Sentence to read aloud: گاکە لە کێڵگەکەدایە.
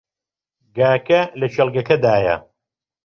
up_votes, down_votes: 2, 0